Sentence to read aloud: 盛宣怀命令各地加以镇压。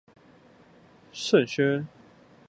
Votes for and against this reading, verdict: 0, 2, rejected